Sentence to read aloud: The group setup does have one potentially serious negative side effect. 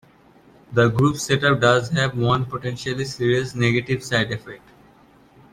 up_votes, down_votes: 2, 1